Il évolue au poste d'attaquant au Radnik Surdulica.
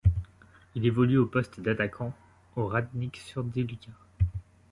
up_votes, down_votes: 1, 2